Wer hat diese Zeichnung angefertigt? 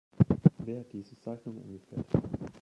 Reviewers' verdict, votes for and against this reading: rejected, 0, 2